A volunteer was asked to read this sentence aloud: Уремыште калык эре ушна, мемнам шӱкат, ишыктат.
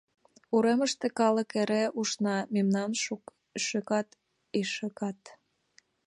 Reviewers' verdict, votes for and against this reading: rejected, 0, 2